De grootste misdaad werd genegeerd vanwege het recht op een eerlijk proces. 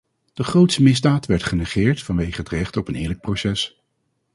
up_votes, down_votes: 0, 2